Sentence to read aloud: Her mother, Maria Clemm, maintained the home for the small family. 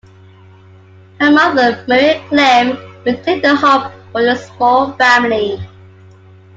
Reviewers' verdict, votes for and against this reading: accepted, 2, 1